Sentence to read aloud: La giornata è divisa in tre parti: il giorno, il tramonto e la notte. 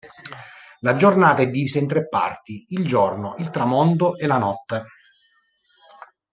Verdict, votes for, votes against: rejected, 1, 2